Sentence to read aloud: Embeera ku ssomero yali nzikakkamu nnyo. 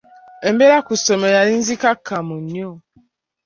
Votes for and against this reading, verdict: 2, 0, accepted